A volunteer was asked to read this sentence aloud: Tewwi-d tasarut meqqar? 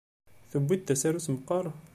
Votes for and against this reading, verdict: 2, 0, accepted